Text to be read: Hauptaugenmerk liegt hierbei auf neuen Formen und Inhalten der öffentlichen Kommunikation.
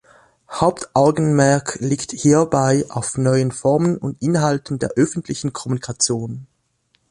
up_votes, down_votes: 2, 1